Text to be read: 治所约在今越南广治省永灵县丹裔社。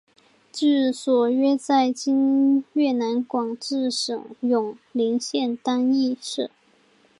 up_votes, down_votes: 3, 0